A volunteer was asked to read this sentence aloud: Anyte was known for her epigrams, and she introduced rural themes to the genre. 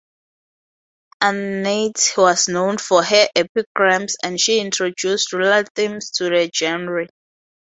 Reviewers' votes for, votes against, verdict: 2, 2, rejected